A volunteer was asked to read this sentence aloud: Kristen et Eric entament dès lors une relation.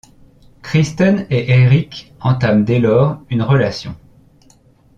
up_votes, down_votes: 2, 0